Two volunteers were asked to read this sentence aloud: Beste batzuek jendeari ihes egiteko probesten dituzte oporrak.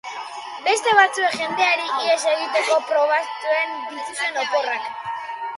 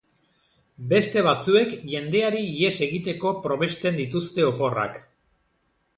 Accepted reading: second